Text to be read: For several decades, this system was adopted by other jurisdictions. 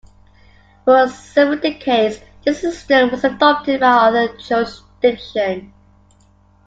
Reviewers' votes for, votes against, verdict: 2, 1, accepted